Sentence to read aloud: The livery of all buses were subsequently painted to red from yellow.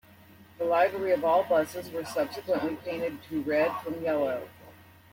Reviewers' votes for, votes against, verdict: 1, 2, rejected